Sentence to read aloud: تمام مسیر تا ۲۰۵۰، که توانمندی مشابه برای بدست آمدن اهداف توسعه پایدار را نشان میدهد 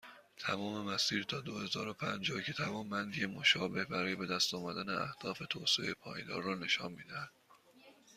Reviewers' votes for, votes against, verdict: 0, 2, rejected